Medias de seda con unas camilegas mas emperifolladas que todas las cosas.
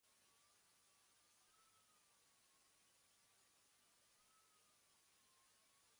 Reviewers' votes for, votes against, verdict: 1, 2, rejected